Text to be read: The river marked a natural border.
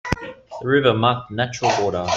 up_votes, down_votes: 0, 2